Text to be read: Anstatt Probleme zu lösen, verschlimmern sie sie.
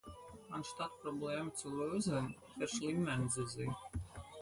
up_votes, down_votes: 0, 4